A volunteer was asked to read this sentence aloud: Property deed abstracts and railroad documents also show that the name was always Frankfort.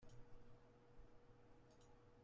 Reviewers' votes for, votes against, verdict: 0, 3, rejected